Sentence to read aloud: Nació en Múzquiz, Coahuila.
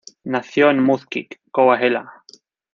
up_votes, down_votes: 0, 2